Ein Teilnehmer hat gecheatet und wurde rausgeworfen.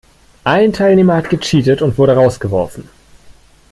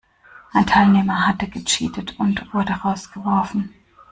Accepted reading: first